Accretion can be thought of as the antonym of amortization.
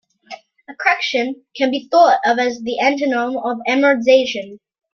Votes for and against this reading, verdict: 1, 2, rejected